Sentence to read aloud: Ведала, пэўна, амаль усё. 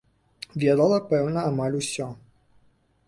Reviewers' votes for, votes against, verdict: 2, 0, accepted